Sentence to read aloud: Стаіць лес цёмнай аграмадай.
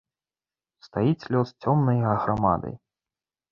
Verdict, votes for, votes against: rejected, 1, 3